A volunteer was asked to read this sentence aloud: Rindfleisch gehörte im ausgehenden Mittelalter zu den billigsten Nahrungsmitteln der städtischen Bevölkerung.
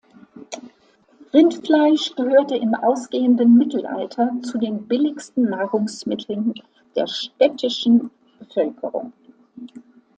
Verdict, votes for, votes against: accepted, 2, 1